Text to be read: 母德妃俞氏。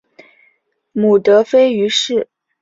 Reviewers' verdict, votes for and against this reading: accepted, 4, 0